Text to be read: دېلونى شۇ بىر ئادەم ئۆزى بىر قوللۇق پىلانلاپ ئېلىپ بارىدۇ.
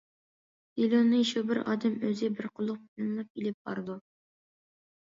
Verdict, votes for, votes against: rejected, 1, 2